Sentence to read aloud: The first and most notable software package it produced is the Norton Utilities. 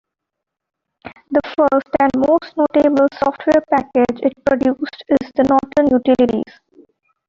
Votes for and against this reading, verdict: 1, 2, rejected